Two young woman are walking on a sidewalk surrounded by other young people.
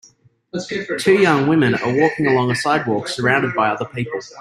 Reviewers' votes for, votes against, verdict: 0, 2, rejected